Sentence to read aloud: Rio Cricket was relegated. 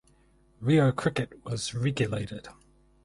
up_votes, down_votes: 2, 4